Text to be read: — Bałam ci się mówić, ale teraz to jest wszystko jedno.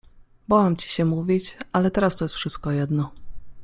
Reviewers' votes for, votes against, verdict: 2, 0, accepted